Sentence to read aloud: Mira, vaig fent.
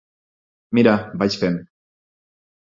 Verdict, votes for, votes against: accepted, 6, 0